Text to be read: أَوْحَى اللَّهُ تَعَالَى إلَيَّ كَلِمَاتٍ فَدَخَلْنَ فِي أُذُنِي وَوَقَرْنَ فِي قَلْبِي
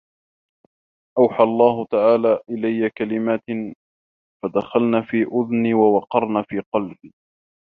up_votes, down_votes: 1, 2